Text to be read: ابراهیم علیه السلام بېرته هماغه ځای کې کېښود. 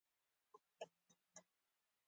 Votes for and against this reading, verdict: 3, 0, accepted